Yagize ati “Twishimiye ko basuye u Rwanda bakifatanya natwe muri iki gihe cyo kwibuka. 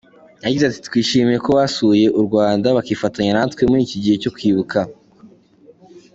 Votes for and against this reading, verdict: 2, 1, accepted